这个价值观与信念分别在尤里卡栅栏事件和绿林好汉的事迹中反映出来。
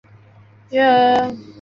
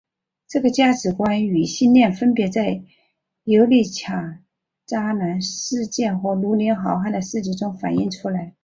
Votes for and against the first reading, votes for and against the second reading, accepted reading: 0, 2, 3, 1, second